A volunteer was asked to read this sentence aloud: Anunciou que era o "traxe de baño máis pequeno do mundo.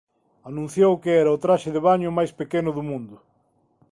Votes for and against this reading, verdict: 2, 0, accepted